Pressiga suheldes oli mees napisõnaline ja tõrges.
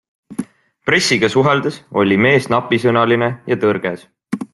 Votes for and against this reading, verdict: 2, 0, accepted